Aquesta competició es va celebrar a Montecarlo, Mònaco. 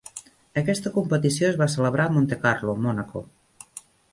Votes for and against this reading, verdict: 3, 0, accepted